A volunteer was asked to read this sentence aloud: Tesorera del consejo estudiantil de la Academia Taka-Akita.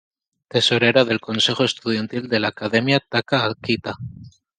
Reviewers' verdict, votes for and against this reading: accepted, 2, 0